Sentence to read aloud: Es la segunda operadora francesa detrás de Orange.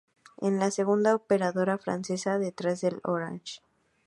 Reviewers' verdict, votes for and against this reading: rejected, 0, 2